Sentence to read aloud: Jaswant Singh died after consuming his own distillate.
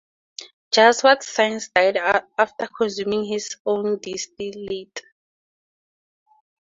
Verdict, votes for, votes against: accepted, 4, 0